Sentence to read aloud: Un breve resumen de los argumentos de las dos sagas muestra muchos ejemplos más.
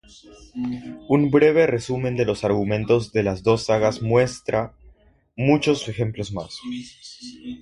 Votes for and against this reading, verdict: 3, 0, accepted